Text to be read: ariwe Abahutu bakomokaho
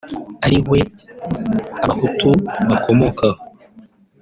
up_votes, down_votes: 2, 0